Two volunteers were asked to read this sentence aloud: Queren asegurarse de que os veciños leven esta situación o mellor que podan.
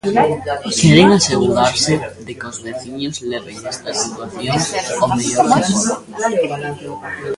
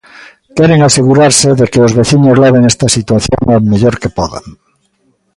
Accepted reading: second